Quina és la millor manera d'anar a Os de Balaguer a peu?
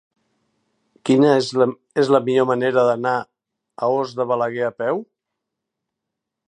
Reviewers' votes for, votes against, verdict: 0, 2, rejected